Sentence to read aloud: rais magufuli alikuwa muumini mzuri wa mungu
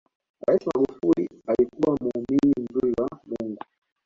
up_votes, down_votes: 2, 0